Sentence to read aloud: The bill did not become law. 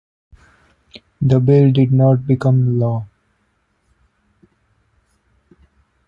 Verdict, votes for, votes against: accepted, 2, 0